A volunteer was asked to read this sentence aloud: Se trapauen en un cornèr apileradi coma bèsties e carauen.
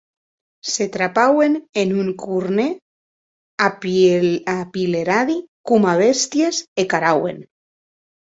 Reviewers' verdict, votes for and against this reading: rejected, 0, 2